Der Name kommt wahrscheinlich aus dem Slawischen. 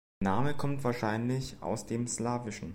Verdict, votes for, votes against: rejected, 0, 2